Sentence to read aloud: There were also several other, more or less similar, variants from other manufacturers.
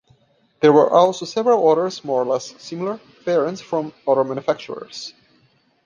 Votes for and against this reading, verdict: 0, 2, rejected